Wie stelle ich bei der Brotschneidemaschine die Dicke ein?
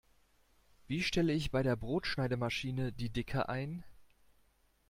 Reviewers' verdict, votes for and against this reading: accepted, 2, 0